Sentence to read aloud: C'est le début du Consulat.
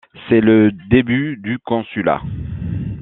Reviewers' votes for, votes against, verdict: 2, 0, accepted